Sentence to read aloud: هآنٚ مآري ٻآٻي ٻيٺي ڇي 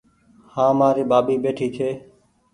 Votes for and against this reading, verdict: 2, 0, accepted